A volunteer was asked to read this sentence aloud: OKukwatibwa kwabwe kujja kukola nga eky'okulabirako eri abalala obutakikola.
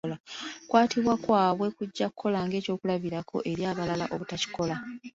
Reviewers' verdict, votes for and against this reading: accepted, 2, 0